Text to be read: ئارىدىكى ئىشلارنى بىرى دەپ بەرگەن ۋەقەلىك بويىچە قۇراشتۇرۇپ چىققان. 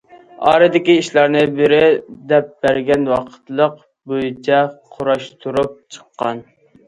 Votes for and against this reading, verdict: 0, 2, rejected